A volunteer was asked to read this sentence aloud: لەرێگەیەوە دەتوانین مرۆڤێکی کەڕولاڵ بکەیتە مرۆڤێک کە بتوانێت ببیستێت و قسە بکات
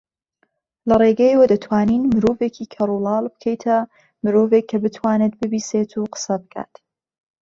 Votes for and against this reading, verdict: 2, 0, accepted